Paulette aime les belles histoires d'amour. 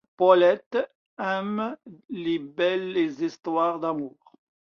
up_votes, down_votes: 2, 0